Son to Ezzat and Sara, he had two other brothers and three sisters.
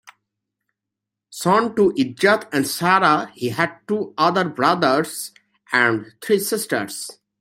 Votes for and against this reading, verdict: 2, 0, accepted